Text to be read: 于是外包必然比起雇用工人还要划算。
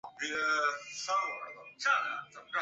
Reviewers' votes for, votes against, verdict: 2, 3, rejected